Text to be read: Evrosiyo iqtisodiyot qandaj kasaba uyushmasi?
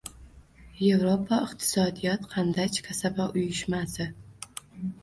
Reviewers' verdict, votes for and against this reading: rejected, 1, 2